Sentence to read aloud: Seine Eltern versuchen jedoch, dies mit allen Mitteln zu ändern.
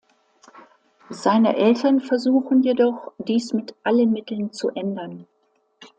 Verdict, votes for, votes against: accepted, 2, 0